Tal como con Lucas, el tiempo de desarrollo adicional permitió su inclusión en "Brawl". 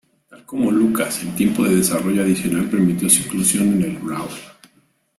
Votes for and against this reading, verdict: 0, 2, rejected